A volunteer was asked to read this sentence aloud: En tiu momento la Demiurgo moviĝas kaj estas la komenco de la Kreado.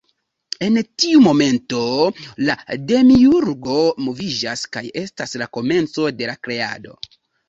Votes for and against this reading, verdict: 2, 0, accepted